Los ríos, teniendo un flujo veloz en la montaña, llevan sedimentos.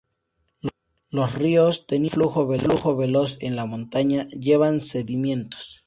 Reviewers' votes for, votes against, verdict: 2, 2, rejected